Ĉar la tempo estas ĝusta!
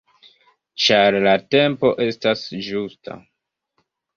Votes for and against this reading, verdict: 1, 2, rejected